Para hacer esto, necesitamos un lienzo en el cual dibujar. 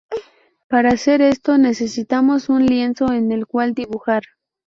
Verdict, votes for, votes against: accepted, 2, 0